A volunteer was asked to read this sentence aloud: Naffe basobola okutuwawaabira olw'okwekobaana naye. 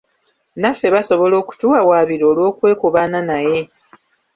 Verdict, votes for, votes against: accepted, 2, 0